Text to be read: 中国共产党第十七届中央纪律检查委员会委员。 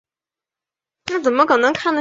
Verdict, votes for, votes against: rejected, 0, 3